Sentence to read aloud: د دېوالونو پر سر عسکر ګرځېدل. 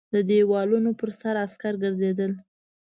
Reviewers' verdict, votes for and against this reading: accepted, 2, 0